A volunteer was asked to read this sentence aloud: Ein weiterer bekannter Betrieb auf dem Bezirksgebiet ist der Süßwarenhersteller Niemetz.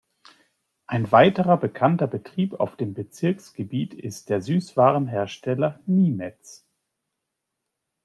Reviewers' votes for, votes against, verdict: 2, 0, accepted